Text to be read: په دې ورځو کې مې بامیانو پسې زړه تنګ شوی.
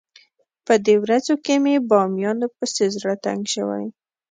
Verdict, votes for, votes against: accepted, 2, 0